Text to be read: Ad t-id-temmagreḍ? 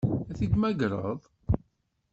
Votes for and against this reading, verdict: 0, 2, rejected